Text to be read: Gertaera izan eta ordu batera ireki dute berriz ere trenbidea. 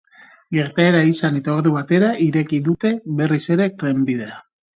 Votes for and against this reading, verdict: 2, 0, accepted